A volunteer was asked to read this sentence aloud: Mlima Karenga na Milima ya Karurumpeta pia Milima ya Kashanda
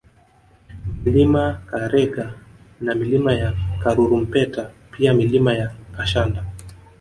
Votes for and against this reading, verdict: 2, 0, accepted